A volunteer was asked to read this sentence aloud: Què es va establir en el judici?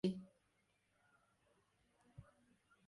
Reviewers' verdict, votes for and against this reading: rejected, 0, 2